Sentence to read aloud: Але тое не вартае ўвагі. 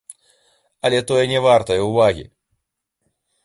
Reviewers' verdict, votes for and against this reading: accepted, 2, 1